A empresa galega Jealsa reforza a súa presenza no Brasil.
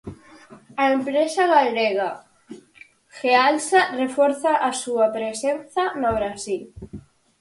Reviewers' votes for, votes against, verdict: 4, 0, accepted